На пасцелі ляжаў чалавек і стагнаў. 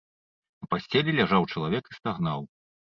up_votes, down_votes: 1, 2